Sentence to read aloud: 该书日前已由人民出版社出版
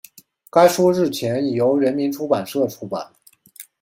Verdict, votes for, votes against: accepted, 2, 0